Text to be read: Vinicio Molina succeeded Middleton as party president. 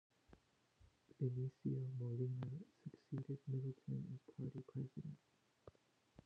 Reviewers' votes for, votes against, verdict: 0, 2, rejected